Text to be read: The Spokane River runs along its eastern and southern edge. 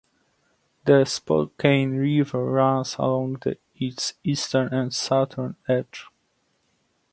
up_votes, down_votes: 2, 1